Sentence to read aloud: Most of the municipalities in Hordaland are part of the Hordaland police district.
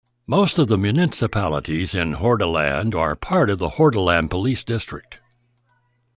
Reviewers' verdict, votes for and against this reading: accepted, 2, 1